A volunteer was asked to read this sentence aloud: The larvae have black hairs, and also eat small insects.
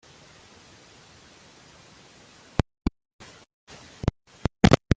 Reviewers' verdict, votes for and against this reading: rejected, 0, 2